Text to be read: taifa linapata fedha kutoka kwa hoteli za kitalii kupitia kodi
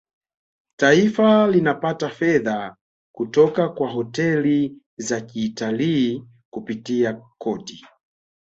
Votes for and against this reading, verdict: 1, 2, rejected